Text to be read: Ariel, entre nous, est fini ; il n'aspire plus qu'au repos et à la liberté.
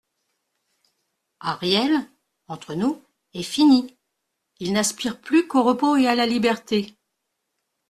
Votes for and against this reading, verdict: 2, 0, accepted